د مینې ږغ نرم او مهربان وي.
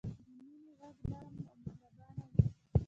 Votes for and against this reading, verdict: 1, 2, rejected